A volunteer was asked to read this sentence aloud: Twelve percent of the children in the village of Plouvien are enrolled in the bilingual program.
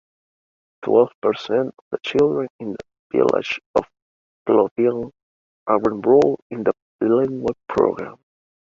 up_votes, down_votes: 2, 1